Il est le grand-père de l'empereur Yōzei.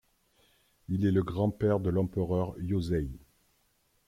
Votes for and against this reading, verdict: 2, 0, accepted